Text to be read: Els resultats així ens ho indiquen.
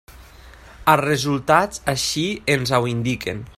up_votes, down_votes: 0, 2